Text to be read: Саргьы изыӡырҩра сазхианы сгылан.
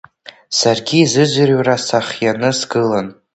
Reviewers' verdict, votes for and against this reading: accepted, 2, 1